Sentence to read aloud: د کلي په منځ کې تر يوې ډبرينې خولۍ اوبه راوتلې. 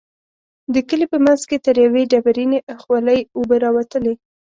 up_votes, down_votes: 2, 0